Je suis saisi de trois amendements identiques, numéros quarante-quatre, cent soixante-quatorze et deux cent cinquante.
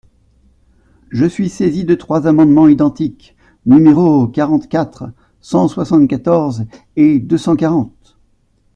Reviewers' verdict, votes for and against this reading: rejected, 1, 2